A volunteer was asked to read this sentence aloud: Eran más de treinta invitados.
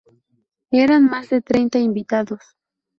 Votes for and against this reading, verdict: 0, 2, rejected